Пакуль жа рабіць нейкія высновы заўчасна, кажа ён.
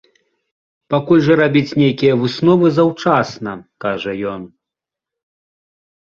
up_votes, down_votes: 2, 0